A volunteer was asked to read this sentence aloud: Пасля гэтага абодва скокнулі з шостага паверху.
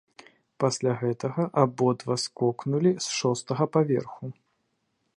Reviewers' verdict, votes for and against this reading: accepted, 2, 0